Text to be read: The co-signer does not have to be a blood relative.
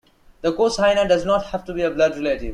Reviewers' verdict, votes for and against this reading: accepted, 2, 0